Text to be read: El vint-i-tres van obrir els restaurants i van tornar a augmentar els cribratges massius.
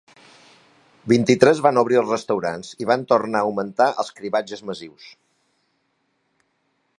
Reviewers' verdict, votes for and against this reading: rejected, 1, 2